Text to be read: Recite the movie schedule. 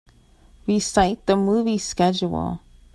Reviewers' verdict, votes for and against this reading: accepted, 2, 1